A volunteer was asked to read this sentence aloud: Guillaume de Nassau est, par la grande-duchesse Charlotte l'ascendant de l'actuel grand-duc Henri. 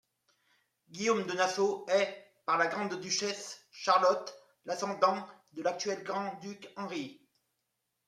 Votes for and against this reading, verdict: 0, 2, rejected